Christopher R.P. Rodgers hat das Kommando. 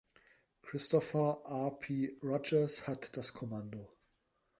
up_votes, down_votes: 2, 0